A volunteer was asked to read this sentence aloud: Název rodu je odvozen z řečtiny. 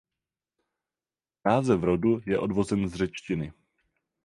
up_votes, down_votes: 0, 4